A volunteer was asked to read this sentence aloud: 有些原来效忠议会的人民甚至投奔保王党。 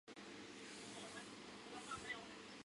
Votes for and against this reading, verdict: 1, 3, rejected